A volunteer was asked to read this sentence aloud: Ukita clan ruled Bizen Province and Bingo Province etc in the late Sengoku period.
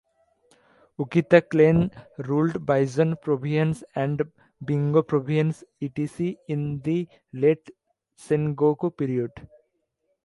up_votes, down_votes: 0, 2